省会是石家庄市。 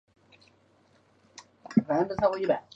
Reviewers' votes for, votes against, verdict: 1, 3, rejected